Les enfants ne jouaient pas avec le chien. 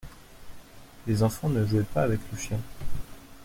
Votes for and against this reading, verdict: 2, 0, accepted